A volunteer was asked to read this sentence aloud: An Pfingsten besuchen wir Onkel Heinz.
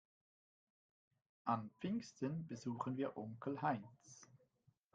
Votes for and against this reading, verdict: 1, 2, rejected